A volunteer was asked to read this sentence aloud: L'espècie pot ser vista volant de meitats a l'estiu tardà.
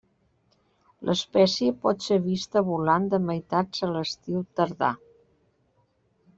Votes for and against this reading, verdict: 3, 0, accepted